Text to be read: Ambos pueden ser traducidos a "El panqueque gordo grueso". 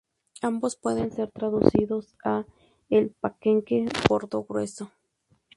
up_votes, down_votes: 2, 0